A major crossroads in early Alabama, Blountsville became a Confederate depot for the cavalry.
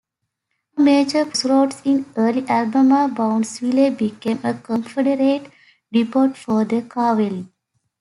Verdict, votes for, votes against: rejected, 0, 2